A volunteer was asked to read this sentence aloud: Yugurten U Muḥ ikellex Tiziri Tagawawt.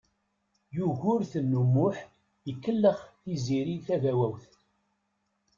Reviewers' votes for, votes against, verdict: 2, 0, accepted